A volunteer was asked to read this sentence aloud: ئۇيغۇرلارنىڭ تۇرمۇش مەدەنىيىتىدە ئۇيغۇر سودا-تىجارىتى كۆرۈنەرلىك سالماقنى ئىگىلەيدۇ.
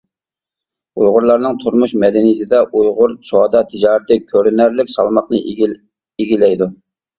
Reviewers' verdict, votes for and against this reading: rejected, 0, 2